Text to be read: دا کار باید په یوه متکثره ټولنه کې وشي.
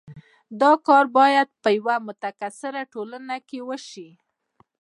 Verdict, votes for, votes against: rejected, 1, 2